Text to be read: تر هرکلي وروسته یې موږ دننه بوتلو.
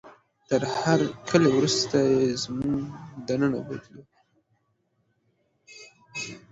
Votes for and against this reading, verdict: 2, 1, accepted